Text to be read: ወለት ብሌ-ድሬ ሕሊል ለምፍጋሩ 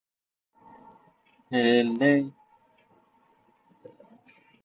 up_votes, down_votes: 1, 2